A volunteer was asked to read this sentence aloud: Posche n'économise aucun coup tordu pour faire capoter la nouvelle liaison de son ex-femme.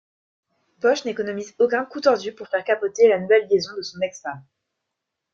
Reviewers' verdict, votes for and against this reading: accepted, 3, 0